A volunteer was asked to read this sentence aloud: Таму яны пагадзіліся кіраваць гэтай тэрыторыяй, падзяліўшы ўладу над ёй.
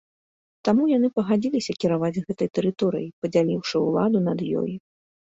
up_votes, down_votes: 2, 0